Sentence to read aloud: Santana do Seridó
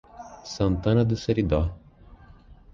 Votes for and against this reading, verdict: 2, 1, accepted